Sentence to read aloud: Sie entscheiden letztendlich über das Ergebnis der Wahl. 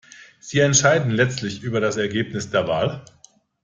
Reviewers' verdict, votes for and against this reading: rejected, 0, 2